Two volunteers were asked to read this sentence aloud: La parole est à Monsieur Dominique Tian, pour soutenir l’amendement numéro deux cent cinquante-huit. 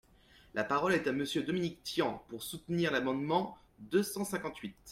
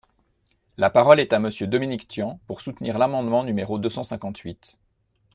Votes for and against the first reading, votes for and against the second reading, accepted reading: 1, 2, 2, 0, second